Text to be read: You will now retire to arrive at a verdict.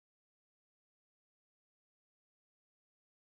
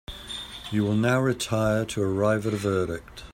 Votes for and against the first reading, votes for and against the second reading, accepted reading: 0, 2, 2, 0, second